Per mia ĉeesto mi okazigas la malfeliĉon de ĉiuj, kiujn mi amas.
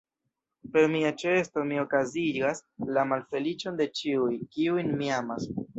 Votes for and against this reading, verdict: 1, 2, rejected